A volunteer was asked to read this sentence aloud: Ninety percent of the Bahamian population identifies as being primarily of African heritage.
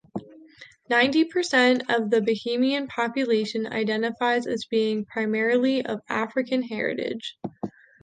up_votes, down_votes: 2, 0